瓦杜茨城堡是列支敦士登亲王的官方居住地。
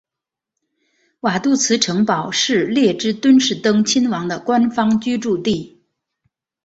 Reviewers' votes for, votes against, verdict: 6, 0, accepted